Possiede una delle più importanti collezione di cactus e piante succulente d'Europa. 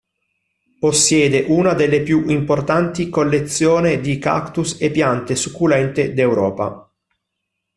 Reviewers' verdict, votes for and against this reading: accepted, 2, 0